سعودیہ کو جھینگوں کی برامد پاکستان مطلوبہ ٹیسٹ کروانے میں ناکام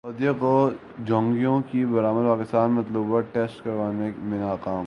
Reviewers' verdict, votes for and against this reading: rejected, 2, 2